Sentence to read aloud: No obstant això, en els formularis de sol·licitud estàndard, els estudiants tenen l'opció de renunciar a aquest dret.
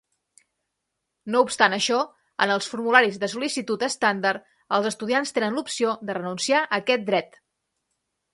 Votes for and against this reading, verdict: 2, 0, accepted